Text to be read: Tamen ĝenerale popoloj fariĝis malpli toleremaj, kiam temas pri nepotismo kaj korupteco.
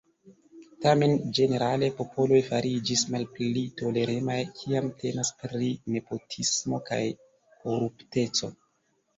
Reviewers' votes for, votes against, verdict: 3, 2, accepted